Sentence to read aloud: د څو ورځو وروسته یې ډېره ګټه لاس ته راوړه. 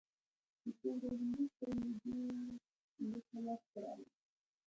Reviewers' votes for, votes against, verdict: 0, 2, rejected